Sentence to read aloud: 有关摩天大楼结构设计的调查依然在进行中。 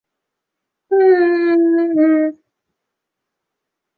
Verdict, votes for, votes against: rejected, 0, 2